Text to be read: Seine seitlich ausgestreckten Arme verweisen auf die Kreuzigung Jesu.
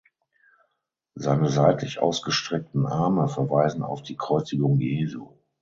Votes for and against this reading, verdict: 6, 0, accepted